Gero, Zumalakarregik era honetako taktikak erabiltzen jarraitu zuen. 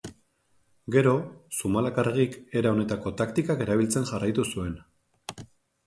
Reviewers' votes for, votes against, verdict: 2, 0, accepted